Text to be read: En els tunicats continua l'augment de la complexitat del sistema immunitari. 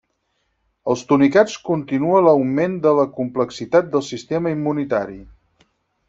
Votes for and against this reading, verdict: 2, 4, rejected